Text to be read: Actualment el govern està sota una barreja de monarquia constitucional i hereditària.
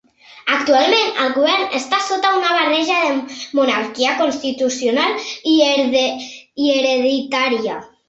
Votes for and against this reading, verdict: 0, 2, rejected